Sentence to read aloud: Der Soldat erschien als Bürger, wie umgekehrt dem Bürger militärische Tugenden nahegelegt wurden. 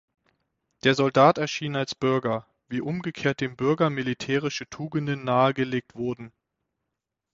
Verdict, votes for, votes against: accepted, 6, 0